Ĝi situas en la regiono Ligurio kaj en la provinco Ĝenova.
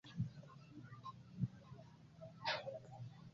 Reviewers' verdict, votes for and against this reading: rejected, 1, 2